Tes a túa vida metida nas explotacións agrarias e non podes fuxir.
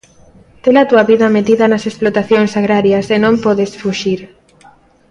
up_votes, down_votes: 2, 1